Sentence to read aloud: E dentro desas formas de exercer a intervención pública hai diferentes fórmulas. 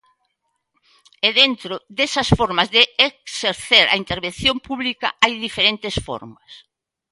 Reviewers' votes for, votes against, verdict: 0, 2, rejected